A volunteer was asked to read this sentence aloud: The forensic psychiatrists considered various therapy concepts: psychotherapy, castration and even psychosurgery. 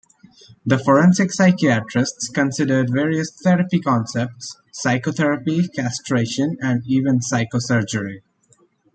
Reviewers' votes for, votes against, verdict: 2, 0, accepted